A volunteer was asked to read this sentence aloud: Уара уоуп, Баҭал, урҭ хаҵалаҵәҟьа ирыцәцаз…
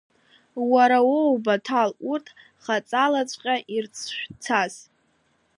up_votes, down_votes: 1, 2